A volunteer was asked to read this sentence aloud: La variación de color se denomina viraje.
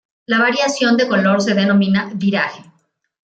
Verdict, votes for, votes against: rejected, 1, 2